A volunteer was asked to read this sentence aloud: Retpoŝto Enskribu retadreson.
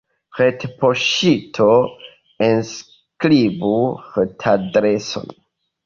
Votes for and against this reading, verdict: 2, 1, accepted